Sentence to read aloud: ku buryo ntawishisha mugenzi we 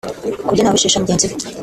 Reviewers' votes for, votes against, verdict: 1, 2, rejected